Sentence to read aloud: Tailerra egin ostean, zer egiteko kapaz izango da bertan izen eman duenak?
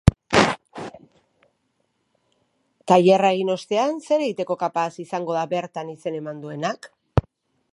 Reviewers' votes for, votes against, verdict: 0, 2, rejected